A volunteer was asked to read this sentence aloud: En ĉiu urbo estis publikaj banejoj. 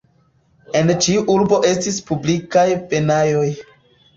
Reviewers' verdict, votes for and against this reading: rejected, 0, 2